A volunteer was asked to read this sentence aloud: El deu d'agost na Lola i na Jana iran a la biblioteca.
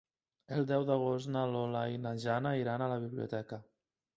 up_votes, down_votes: 3, 0